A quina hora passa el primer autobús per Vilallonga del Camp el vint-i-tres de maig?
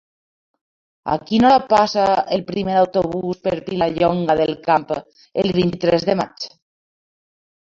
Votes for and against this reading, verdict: 2, 1, accepted